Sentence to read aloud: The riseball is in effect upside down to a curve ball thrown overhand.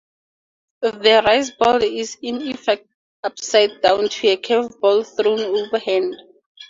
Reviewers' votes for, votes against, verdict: 2, 0, accepted